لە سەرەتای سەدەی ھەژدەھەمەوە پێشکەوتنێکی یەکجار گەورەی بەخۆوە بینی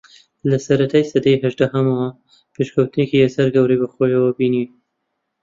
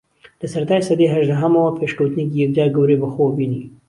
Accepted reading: second